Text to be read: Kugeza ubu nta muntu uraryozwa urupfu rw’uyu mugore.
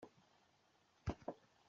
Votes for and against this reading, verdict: 0, 2, rejected